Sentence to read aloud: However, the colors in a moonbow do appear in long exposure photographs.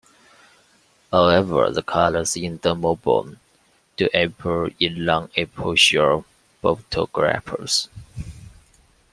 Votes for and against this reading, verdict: 0, 2, rejected